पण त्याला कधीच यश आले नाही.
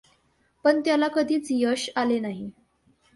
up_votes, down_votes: 2, 0